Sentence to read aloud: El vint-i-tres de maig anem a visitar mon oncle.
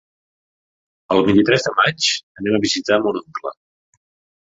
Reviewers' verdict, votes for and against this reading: accepted, 2, 0